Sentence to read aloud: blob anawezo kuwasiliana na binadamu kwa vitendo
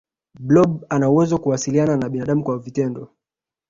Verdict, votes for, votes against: rejected, 1, 2